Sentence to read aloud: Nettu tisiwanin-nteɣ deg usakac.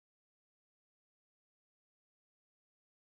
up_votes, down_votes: 0, 2